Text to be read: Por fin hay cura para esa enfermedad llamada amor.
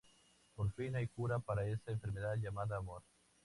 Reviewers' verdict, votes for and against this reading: accepted, 2, 0